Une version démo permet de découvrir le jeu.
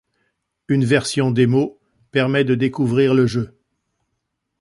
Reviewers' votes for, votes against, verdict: 2, 0, accepted